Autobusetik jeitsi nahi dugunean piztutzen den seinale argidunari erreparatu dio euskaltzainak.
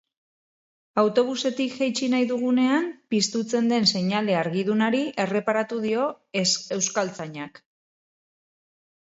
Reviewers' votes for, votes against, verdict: 2, 8, rejected